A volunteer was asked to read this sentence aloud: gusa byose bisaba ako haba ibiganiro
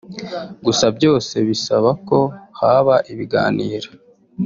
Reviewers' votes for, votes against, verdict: 2, 0, accepted